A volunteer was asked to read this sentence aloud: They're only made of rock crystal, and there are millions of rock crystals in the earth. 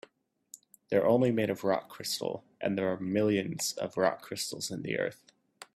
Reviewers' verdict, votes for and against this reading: accepted, 3, 0